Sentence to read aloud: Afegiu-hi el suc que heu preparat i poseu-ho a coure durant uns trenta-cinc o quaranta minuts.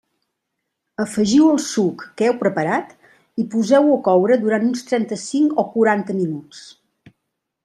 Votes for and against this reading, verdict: 1, 2, rejected